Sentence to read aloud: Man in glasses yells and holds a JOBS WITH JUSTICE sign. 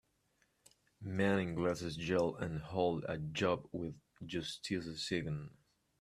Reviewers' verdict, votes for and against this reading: rejected, 0, 2